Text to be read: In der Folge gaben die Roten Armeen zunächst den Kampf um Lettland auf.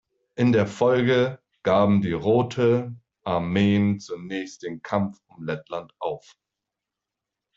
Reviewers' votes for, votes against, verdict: 0, 2, rejected